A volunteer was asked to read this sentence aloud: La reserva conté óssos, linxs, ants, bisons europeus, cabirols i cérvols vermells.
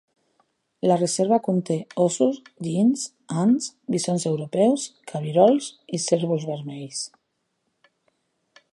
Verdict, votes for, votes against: accepted, 2, 0